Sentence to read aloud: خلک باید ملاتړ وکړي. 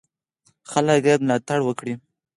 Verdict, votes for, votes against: accepted, 4, 0